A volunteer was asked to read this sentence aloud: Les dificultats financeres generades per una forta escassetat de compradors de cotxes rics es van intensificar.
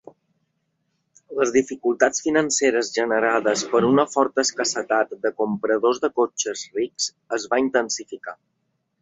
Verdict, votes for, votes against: rejected, 2, 3